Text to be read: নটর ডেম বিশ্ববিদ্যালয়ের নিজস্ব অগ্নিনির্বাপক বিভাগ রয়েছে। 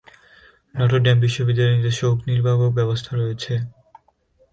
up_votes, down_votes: 1, 2